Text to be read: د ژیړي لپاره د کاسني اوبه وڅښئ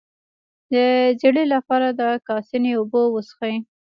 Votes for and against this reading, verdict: 1, 2, rejected